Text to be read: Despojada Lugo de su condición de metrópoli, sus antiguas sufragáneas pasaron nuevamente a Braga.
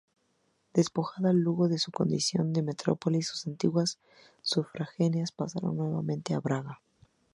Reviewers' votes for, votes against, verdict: 0, 2, rejected